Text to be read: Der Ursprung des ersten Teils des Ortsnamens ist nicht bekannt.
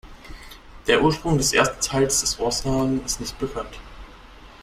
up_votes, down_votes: 0, 2